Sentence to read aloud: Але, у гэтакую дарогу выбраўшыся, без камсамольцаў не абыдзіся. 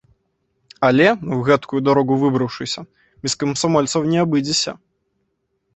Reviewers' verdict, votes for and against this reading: rejected, 0, 2